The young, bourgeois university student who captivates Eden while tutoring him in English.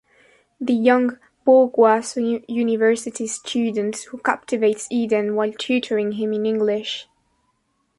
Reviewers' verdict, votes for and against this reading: rejected, 0, 2